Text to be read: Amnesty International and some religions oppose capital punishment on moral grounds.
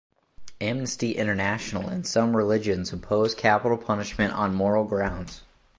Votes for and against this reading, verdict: 2, 0, accepted